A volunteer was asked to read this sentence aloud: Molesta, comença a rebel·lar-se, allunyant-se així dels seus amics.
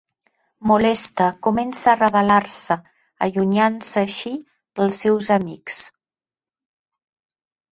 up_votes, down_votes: 2, 0